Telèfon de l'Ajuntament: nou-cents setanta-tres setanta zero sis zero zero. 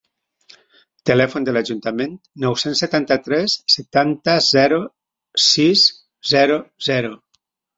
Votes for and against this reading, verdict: 2, 0, accepted